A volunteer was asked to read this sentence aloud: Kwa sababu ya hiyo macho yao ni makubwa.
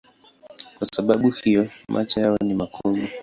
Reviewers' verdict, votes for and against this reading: accepted, 3, 0